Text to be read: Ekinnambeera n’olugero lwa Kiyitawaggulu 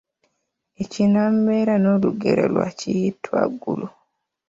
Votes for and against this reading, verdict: 1, 2, rejected